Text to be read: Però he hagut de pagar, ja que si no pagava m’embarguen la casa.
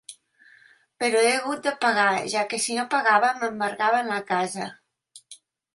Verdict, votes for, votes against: accepted, 2, 1